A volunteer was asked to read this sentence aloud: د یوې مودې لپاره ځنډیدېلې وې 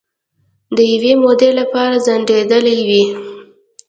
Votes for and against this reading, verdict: 2, 0, accepted